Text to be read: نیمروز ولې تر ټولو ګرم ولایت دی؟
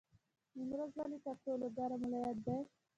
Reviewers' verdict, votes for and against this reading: rejected, 1, 2